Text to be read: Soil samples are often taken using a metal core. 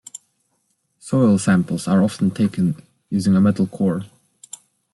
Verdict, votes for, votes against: accepted, 2, 0